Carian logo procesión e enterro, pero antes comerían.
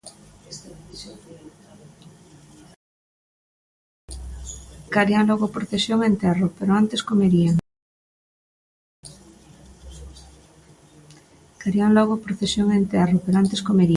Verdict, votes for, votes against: rejected, 0, 2